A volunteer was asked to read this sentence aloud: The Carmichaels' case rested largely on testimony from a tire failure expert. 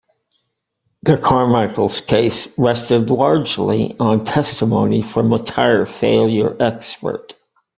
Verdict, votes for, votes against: accepted, 2, 0